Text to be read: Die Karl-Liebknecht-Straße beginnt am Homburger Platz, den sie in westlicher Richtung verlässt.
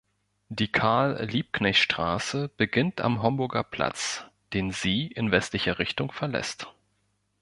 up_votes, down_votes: 2, 0